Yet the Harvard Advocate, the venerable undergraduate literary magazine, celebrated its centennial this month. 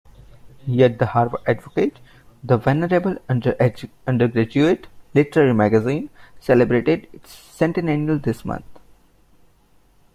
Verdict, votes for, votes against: rejected, 0, 2